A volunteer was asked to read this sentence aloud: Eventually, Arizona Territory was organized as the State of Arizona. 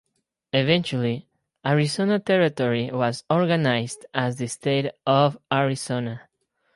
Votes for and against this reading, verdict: 2, 0, accepted